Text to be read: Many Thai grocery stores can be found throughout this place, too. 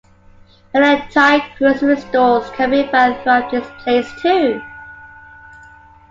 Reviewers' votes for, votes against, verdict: 2, 1, accepted